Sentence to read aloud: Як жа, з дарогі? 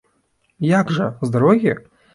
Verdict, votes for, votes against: accepted, 2, 0